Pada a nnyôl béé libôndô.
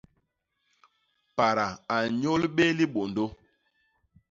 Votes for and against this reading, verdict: 1, 2, rejected